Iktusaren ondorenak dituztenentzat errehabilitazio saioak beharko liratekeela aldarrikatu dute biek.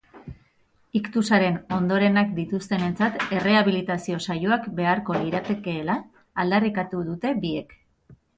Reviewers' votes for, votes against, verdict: 4, 0, accepted